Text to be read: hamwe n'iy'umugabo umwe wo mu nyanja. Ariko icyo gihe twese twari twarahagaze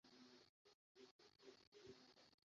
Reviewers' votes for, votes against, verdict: 0, 2, rejected